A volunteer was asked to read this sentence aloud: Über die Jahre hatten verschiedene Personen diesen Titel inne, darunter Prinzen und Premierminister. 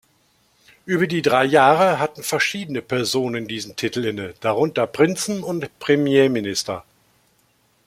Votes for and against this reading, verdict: 0, 2, rejected